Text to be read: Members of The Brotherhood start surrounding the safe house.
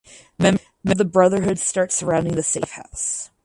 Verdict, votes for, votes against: rejected, 2, 2